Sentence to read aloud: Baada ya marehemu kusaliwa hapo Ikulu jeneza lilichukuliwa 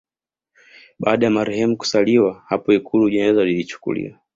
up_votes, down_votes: 2, 0